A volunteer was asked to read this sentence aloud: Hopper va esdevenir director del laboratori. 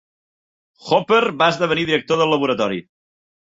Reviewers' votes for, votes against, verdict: 3, 0, accepted